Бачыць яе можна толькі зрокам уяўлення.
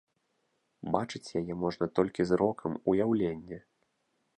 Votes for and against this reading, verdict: 2, 0, accepted